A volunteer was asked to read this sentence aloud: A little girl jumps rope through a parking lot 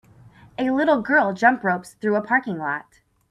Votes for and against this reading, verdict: 2, 6, rejected